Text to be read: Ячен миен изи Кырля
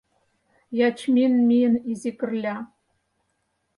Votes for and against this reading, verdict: 0, 4, rejected